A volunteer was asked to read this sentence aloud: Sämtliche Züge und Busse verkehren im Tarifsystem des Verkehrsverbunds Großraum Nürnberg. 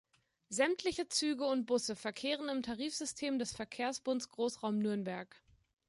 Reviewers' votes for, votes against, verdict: 1, 2, rejected